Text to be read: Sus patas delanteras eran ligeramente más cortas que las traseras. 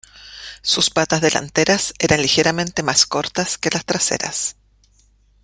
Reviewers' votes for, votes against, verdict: 2, 0, accepted